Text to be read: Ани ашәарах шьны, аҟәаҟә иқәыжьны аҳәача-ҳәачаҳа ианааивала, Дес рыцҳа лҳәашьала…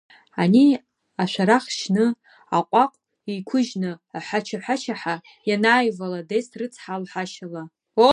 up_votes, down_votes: 0, 2